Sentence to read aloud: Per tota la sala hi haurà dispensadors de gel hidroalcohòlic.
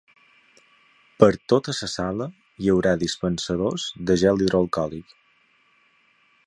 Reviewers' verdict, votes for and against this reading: rejected, 0, 3